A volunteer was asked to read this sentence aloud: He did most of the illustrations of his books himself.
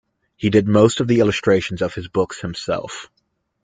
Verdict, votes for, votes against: accepted, 2, 0